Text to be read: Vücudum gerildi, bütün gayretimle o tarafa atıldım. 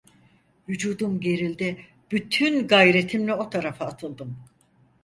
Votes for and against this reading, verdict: 4, 0, accepted